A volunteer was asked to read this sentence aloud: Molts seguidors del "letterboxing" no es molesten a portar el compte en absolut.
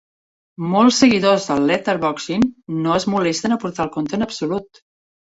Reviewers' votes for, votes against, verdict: 2, 0, accepted